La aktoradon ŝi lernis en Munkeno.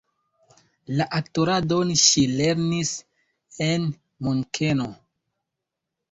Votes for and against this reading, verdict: 2, 1, accepted